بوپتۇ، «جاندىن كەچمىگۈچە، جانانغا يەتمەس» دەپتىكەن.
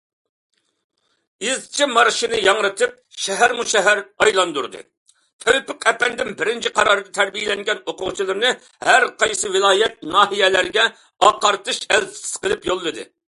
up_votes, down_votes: 0, 2